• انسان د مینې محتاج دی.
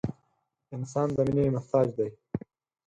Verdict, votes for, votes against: accepted, 4, 2